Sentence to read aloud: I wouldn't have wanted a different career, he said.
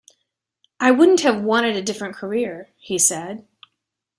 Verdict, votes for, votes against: accepted, 2, 0